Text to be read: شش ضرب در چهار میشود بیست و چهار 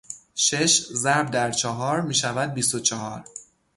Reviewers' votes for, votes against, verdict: 6, 0, accepted